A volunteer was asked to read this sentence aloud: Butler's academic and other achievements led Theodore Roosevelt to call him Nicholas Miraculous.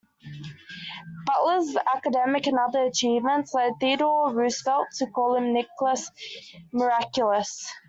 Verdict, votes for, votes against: accepted, 2, 0